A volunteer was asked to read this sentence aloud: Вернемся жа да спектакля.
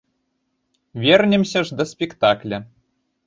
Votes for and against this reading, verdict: 1, 2, rejected